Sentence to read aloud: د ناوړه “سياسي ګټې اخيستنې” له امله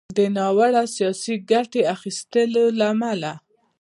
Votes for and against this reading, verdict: 1, 2, rejected